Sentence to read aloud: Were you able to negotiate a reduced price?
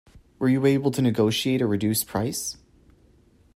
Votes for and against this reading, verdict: 2, 0, accepted